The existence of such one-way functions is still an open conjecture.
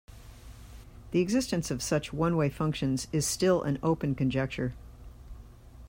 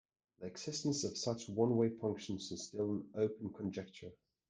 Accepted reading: first